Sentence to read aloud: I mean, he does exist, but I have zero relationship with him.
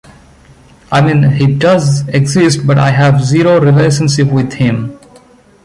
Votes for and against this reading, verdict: 2, 1, accepted